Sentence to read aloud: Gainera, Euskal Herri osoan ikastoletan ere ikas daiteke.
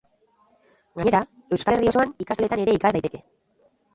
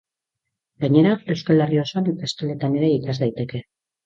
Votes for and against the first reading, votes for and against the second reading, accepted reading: 0, 2, 2, 0, second